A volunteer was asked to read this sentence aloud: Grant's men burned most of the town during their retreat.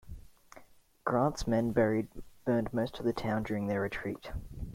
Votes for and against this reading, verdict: 0, 2, rejected